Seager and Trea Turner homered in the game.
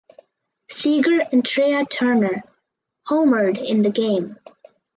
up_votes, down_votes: 4, 2